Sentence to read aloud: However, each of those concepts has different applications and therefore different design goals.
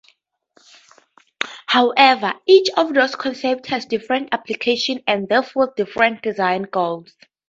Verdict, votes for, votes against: rejected, 0, 2